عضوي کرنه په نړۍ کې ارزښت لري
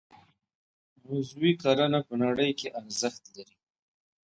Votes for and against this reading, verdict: 2, 0, accepted